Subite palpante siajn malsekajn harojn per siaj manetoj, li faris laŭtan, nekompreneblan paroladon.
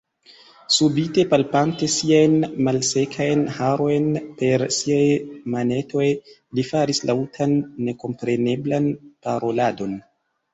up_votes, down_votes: 2, 0